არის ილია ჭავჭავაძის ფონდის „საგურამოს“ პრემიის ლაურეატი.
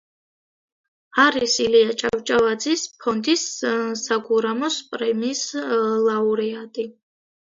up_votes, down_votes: 0, 2